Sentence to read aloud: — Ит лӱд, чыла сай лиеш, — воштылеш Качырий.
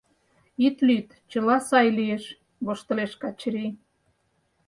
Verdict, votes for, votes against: accepted, 4, 0